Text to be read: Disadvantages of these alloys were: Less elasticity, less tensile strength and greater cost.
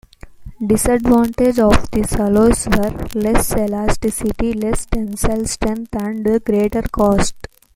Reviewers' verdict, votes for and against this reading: accepted, 2, 1